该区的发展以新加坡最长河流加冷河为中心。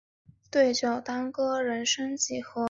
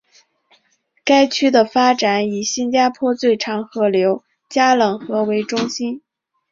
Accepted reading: second